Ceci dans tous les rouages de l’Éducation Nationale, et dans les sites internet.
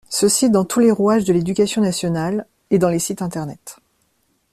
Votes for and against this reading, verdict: 2, 0, accepted